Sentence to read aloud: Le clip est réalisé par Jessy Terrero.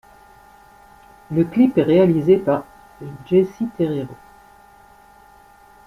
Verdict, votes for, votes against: accepted, 2, 0